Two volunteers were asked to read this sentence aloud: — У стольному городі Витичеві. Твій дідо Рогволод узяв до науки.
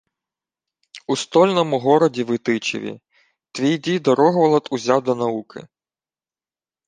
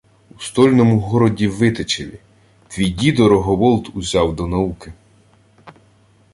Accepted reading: first